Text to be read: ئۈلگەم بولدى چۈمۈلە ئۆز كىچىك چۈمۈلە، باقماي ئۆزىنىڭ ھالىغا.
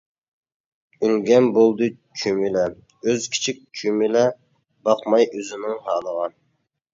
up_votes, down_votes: 2, 0